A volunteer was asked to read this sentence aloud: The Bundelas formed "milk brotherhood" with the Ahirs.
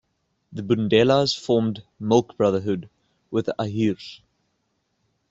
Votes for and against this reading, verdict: 2, 0, accepted